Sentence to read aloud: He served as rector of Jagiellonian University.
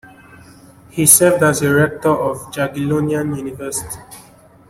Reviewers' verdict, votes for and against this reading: accepted, 2, 0